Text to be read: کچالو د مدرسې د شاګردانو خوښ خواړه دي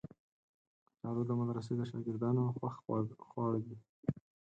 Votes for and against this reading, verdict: 2, 4, rejected